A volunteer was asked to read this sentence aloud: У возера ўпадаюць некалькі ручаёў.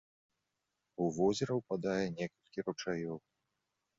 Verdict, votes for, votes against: rejected, 1, 2